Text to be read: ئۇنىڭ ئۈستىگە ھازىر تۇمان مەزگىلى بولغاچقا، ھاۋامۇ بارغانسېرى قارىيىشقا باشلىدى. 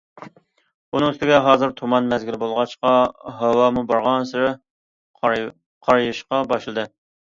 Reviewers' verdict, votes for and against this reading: rejected, 1, 2